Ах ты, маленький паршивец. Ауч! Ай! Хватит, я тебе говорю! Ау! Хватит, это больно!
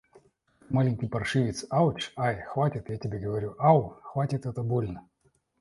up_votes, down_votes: 0, 2